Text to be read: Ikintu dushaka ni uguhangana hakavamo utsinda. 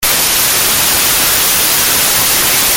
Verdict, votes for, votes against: rejected, 0, 2